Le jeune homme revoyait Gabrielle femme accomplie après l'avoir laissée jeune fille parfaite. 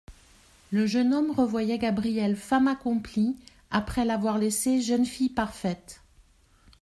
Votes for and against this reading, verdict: 2, 0, accepted